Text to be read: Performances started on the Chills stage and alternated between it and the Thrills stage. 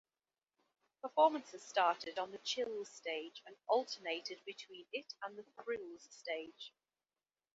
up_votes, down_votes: 1, 2